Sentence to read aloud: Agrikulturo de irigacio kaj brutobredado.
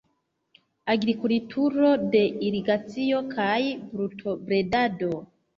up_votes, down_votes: 0, 2